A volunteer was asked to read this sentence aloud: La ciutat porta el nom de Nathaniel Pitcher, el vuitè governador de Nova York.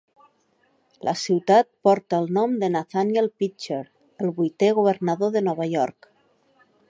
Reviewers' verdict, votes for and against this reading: accepted, 3, 0